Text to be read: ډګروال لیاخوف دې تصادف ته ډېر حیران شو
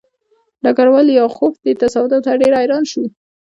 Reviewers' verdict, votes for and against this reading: accepted, 2, 1